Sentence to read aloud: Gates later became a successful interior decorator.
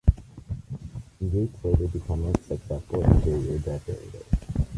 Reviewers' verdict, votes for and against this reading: accepted, 2, 0